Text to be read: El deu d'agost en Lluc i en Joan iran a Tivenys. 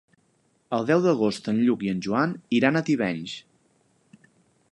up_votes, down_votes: 4, 0